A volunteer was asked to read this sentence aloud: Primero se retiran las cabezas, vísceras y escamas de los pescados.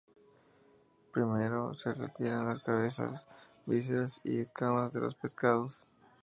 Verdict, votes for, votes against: accepted, 2, 0